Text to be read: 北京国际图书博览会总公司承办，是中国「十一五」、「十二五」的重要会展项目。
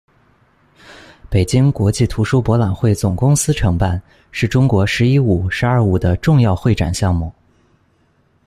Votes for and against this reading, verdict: 2, 0, accepted